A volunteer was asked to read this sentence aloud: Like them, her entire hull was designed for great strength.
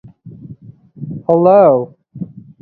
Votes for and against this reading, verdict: 0, 2, rejected